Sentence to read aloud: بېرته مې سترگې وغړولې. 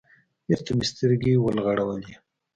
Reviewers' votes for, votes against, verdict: 2, 0, accepted